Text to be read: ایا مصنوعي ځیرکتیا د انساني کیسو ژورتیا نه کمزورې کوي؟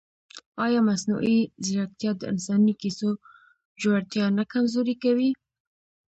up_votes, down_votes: 0, 2